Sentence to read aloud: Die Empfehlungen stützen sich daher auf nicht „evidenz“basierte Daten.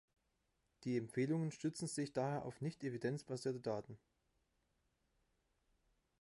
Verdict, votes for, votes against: accepted, 2, 1